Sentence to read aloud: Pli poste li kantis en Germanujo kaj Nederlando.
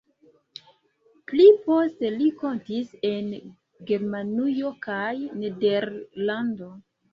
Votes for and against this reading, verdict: 1, 2, rejected